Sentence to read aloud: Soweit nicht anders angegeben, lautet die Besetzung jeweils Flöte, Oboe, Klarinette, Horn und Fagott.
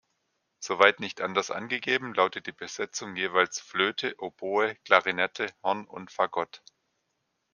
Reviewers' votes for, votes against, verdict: 2, 0, accepted